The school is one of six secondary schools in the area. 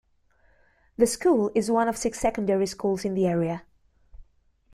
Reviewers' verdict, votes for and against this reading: accepted, 2, 0